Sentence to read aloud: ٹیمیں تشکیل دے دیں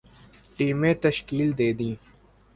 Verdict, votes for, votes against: accepted, 2, 0